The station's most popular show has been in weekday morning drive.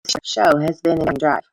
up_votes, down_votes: 0, 2